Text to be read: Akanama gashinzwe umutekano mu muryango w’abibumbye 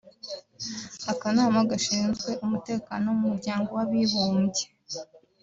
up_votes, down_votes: 0, 2